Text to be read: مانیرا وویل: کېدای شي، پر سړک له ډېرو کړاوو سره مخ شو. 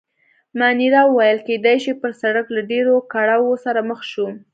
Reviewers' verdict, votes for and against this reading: accepted, 2, 0